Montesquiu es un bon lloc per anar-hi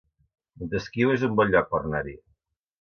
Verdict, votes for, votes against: rejected, 0, 2